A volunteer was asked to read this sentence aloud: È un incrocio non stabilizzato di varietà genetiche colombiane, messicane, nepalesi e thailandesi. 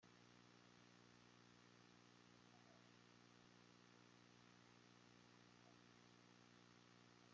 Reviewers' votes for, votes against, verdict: 0, 2, rejected